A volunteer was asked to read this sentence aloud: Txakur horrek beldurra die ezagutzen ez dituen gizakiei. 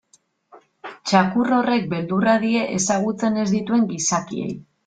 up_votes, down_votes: 2, 0